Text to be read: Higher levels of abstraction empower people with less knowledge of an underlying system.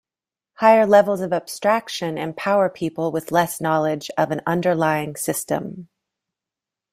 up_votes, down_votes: 2, 0